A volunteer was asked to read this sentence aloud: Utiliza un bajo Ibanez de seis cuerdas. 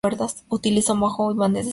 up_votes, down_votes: 0, 4